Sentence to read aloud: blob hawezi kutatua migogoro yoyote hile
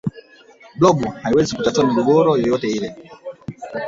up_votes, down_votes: 0, 2